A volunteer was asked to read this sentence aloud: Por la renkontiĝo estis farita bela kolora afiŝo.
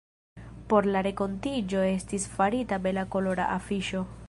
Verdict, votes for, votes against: accepted, 2, 1